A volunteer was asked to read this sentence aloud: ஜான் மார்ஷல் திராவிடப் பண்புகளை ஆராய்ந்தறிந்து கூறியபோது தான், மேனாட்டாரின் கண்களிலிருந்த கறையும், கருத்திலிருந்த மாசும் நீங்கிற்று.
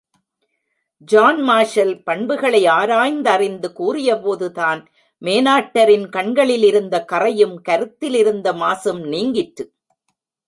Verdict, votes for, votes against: rejected, 1, 2